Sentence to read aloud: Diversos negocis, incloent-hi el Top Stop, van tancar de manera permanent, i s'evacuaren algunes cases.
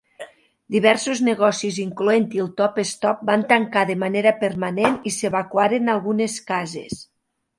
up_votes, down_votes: 3, 1